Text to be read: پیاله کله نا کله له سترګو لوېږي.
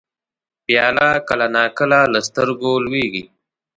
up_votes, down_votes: 2, 1